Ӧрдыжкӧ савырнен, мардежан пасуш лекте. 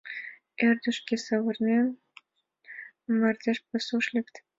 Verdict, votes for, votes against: rejected, 0, 2